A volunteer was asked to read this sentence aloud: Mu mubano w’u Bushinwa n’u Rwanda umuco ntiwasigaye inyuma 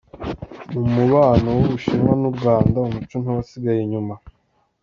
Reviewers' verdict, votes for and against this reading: accepted, 2, 0